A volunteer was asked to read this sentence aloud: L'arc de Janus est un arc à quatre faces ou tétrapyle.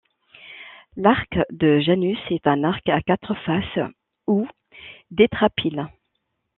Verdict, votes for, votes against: rejected, 1, 2